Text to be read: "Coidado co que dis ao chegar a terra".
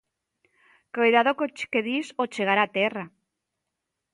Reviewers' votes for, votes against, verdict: 2, 1, accepted